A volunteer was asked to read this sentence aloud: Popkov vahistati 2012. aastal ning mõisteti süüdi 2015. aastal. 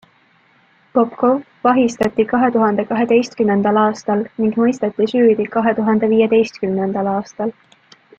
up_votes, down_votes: 0, 2